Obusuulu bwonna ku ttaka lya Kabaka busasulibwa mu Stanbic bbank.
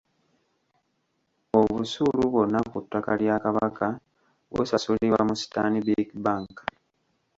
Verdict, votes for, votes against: rejected, 0, 2